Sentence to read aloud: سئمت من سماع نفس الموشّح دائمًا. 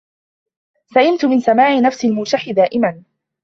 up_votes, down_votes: 1, 2